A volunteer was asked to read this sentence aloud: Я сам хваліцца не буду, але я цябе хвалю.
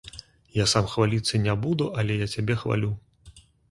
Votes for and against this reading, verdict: 2, 0, accepted